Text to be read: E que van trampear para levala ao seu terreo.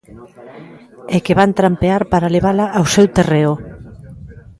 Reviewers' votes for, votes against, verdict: 1, 2, rejected